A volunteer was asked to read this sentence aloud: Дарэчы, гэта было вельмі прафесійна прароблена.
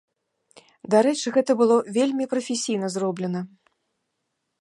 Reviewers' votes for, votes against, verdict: 1, 2, rejected